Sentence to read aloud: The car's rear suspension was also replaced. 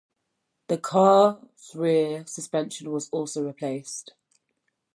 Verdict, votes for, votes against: rejected, 0, 2